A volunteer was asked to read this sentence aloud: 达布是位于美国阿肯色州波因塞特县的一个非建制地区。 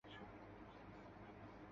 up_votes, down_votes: 0, 4